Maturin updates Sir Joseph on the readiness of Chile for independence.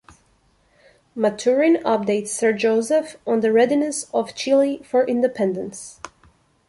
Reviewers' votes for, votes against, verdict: 2, 0, accepted